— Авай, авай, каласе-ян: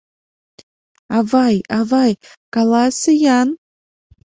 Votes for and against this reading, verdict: 2, 0, accepted